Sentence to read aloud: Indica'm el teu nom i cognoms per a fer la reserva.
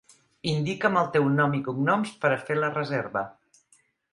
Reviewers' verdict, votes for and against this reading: accepted, 5, 0